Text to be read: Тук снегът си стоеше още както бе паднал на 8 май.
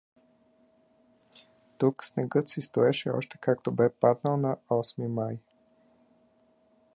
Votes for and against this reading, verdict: 0, 2, rejected